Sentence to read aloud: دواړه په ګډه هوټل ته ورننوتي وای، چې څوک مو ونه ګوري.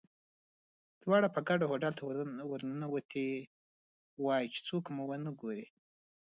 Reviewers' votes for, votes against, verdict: 0, 2, rejected